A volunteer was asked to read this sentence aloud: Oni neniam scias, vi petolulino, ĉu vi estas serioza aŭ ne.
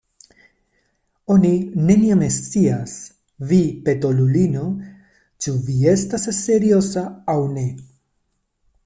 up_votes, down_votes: 1, 2